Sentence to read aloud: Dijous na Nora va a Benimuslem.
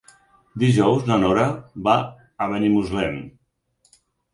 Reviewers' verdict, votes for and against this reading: accepted, 6, 0